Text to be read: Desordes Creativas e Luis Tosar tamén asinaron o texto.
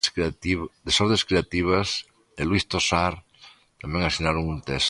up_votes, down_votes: 0, 2